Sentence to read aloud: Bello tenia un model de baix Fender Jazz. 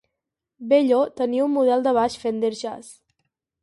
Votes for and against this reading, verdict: 4, 0, accepted